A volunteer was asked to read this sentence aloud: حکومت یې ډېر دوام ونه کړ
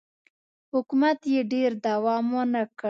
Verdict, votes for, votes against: accepted, 2, 0